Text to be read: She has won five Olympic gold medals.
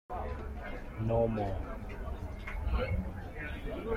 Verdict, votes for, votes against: rejected, 0, 2